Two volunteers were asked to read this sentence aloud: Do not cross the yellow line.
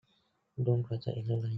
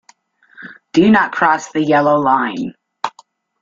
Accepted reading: second